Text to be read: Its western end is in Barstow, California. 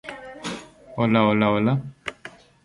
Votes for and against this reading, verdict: 0, 2, rejected